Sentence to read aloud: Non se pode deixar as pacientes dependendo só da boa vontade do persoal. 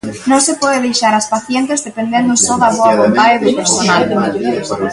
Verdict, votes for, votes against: rejected, 0, 2